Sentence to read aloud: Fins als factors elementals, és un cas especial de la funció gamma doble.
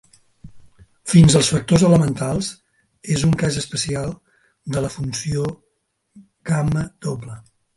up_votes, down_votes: 4, 0